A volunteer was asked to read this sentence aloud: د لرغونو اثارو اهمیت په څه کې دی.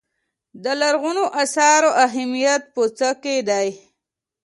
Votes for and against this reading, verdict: 2, 0, accepted